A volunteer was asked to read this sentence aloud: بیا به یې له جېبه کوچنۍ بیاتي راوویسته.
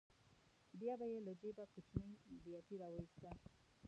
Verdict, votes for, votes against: rejected, 0, 2